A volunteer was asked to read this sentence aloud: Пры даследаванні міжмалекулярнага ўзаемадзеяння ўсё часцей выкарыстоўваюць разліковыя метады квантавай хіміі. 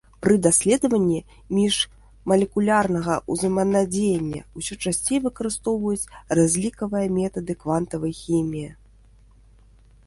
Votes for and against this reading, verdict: 0, 2, rejected